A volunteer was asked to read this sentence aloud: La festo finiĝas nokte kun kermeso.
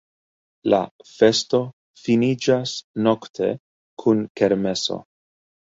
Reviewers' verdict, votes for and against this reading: accepted, 2, 0